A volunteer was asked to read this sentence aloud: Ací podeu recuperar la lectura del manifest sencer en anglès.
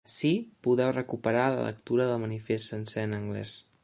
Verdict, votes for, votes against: rejected, 0, 2